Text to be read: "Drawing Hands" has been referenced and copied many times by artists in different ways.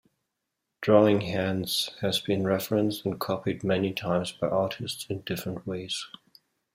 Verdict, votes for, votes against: accepted, 2, 1